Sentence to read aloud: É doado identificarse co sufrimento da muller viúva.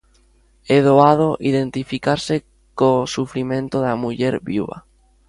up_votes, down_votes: 2, 0